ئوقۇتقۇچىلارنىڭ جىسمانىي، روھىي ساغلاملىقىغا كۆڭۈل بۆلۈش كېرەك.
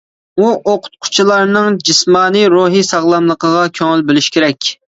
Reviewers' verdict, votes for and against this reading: rejected, 0, 2